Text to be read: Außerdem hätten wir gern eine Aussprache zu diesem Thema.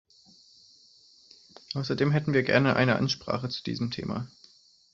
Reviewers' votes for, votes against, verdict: 1, 2, rejected